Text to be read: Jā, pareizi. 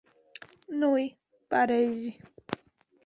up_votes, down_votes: 0, 2